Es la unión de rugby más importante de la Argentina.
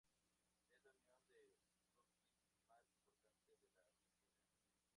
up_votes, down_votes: 0, 2